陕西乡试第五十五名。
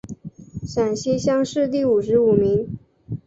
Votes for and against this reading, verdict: 2, 0, accepted